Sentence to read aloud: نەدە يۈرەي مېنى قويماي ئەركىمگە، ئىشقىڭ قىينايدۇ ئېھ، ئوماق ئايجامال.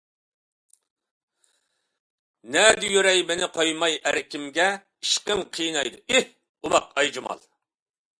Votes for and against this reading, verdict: 2, 0, accepted